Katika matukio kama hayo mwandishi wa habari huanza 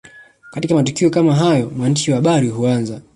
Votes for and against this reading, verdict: 0, 2, rejected